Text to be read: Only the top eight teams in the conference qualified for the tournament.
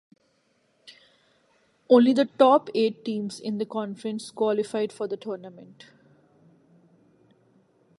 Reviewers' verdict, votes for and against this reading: accepted, 2, 1